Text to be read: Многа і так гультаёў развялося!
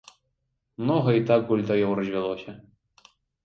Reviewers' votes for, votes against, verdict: 2, 0, accepted